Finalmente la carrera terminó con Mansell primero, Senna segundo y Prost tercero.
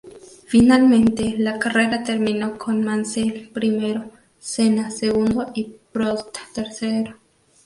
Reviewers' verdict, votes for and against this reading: accepted, 2, 0